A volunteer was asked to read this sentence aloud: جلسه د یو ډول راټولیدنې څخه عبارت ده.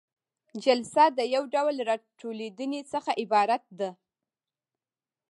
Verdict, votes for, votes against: accepted, 2, 0